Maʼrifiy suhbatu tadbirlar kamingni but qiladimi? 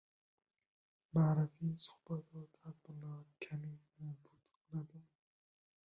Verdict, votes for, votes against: rejected, 0, 2